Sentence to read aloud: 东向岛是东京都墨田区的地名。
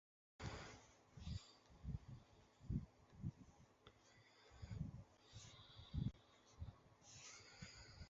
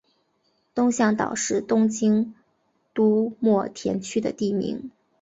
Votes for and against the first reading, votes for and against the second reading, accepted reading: 0, 5, 2, 0, second